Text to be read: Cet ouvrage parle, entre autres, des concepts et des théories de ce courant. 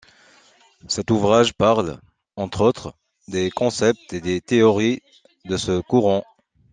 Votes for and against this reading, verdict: 2, 0, accepted